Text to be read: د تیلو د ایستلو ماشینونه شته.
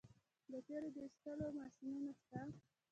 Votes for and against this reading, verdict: 0, 2, rejected